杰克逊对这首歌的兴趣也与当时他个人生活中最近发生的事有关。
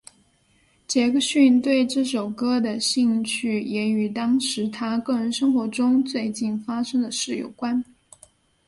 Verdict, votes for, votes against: accepted, 2, 1